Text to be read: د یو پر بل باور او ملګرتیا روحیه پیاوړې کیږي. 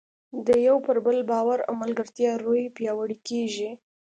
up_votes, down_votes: 2, 0